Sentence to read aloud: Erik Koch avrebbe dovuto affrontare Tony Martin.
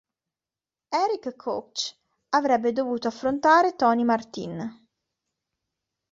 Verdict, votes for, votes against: accepted, 2, 1